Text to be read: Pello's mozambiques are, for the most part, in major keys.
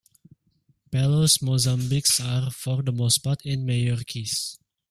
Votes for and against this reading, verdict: 2, 1, accepted